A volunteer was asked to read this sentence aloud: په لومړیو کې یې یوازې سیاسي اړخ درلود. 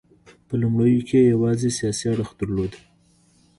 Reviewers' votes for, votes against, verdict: 1, 2, rejected